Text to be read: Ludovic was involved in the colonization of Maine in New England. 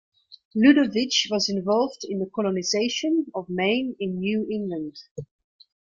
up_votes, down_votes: 2, 0